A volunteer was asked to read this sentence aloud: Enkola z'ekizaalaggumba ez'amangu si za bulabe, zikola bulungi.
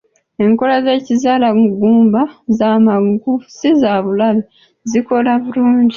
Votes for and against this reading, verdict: 1, 2, rejected